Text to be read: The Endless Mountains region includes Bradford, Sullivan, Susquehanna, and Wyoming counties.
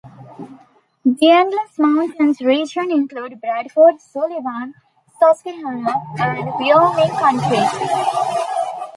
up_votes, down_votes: 0, 2